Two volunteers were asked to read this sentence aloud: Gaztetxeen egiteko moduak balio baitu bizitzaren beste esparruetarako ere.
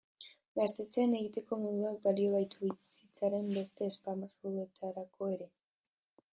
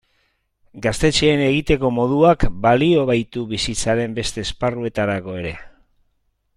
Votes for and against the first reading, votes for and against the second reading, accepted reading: 1, 3, 2, 0, second